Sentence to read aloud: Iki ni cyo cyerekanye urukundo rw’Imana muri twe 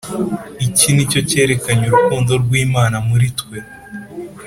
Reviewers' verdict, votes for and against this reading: accepted, 2, 0